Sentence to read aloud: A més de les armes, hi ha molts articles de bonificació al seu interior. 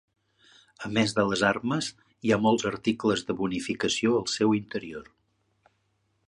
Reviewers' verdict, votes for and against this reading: accepted, 3, 0